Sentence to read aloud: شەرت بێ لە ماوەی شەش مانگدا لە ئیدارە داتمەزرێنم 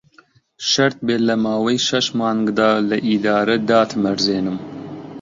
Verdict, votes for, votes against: accepted, 2, 1